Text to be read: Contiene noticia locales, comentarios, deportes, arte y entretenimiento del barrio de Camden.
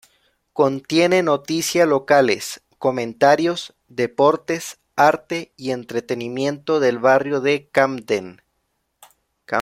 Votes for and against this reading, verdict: 0, 2, rejected